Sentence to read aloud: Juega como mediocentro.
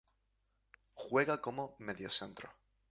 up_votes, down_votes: 0, 2